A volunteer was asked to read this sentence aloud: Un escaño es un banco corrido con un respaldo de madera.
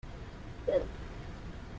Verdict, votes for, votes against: rejected, 0, 2